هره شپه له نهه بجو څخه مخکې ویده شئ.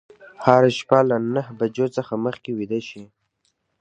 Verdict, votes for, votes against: accepted, 3, 0